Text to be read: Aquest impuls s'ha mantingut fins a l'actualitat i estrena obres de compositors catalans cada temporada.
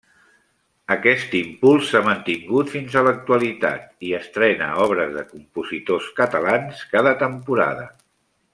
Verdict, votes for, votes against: accepted, 3, 0